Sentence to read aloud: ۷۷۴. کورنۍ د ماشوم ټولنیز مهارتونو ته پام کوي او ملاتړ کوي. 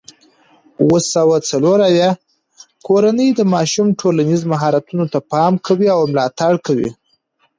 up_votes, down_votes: 0, 2